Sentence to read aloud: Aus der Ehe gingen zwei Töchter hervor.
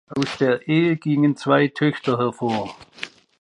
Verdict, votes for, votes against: accepted, 2, 0